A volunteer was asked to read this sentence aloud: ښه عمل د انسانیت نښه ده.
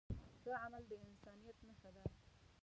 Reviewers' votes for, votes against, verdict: 2, 3, rejected